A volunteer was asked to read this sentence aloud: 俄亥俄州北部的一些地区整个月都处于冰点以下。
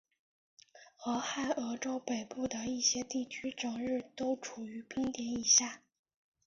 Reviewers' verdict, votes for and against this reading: accepted, 3, 2